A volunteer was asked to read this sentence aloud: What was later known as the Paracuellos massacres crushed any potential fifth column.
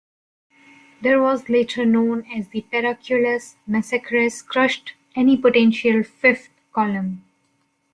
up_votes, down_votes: 1, 2